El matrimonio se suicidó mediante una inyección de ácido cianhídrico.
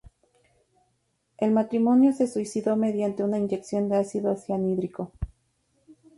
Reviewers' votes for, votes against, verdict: 2, 0, accepted